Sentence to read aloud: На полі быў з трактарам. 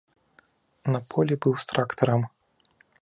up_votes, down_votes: 2, 0